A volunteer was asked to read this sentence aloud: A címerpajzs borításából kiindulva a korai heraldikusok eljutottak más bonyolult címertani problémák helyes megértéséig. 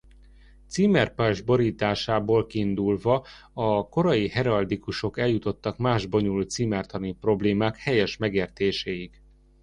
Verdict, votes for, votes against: rejected, 0, 2